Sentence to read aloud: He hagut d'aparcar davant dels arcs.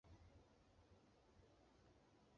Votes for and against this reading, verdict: 0, 2, rejected